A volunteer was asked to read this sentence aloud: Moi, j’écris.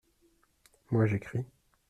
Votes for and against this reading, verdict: 2, 0, accepted